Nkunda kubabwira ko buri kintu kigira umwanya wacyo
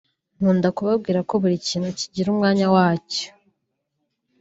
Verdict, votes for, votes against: accepted, 2, 0